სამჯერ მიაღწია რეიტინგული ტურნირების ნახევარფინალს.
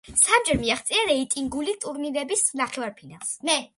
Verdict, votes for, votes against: rejected, 1, 2